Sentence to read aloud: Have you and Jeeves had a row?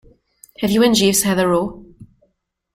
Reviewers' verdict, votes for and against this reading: rejected, 1, 2